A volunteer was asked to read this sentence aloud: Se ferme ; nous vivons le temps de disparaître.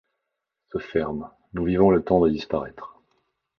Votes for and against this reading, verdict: 2, 0, accepted